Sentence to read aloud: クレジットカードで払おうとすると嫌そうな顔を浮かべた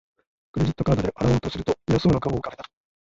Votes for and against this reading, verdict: 0, 2, rejected